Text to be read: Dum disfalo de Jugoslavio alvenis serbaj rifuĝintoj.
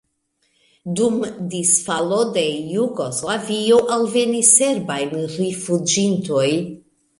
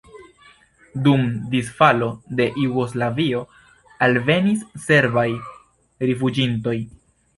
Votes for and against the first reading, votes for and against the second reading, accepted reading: 2, 0, 1, 2, first